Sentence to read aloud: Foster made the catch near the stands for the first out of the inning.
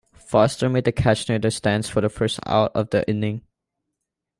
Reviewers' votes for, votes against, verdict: 2, 0, accepted